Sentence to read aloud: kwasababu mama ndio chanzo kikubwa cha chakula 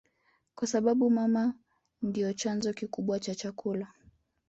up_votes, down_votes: 1, 2